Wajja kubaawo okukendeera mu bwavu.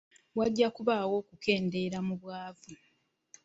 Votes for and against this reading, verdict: 1, 2, rejected